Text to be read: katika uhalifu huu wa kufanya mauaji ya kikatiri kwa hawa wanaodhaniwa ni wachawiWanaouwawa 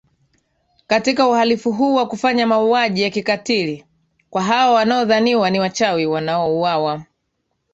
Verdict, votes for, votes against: accepted, 2, 0